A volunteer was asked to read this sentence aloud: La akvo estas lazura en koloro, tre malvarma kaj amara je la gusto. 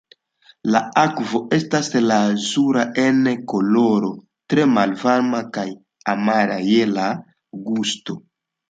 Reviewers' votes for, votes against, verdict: 2, 0, accepted